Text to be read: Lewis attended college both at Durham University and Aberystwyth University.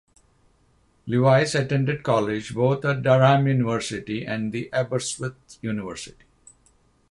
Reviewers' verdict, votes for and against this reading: rejected, 0, 3